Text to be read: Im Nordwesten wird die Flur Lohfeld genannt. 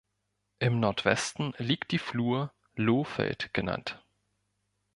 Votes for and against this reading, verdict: 2, 3, rejected